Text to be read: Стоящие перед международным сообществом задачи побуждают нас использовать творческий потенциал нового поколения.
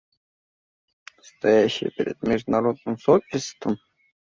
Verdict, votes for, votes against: rejected, 0, 2